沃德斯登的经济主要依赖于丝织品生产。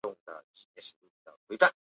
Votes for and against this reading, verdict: 0, 2, rejected